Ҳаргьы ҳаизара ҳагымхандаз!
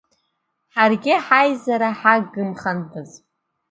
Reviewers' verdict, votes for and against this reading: accepted, 2, 0